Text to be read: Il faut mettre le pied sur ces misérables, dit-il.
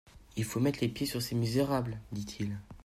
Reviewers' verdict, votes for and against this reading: rejected, 0, 2